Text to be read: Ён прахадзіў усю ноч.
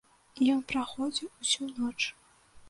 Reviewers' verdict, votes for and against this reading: rejected, 0, 2